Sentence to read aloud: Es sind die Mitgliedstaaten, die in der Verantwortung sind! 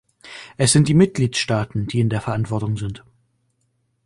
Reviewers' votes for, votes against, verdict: 3, 0, accepted